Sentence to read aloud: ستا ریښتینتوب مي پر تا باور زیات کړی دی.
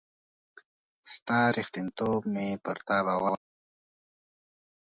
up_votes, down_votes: 0, 2